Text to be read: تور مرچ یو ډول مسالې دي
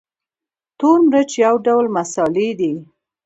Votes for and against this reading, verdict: 2, 1, accepted